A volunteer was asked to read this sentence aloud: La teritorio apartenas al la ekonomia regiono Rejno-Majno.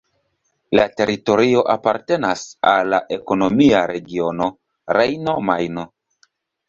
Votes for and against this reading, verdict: 1, 2, rejected